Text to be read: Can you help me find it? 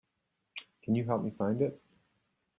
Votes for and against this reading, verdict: 2, 0, accepted